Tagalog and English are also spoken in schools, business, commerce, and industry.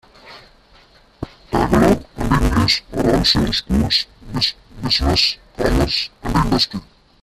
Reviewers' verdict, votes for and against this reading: rejected, 0, 2